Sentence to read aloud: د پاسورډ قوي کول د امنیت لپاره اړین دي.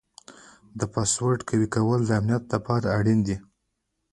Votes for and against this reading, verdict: 2, 1, accepted